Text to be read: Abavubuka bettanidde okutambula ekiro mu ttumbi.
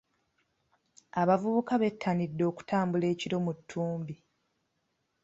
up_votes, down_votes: 3, 0